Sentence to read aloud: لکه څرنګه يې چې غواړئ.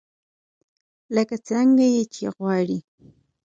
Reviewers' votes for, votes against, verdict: 4, 0, accepted